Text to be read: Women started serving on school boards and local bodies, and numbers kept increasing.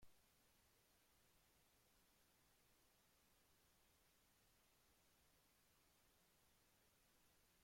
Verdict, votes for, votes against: rejected, 0, 2